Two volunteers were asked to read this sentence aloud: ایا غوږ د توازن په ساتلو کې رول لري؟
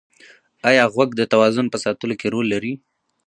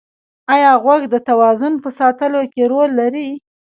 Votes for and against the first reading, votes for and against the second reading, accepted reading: 2, 0, 0, 2, first